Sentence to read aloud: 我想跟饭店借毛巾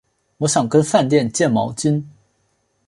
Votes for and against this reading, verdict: 3, 0, accepted